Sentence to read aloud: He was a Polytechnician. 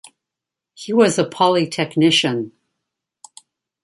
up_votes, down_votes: 2, 0